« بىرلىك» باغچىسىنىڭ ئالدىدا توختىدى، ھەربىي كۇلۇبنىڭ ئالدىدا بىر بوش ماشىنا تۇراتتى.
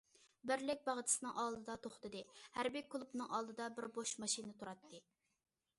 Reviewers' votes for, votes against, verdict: 2, 0, accepted